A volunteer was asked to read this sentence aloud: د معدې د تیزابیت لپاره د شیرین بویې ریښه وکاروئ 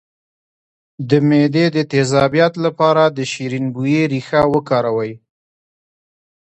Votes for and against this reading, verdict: 1, 2, rejected